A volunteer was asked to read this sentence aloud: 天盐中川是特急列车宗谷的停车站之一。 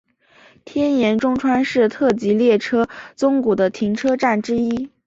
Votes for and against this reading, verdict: 2, 0, accepted